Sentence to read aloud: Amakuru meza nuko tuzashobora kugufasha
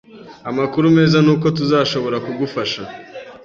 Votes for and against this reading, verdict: 2, 0, accepted